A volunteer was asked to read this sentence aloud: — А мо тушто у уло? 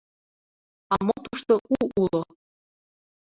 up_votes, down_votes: 2, 0